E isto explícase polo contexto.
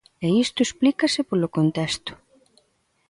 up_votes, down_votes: 2, 0